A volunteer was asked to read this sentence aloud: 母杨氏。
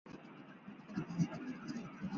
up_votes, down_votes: 1, 3